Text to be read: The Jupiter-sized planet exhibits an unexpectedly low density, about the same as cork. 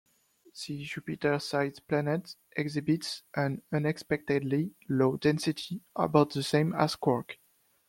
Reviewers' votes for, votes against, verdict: 2, 0, accepted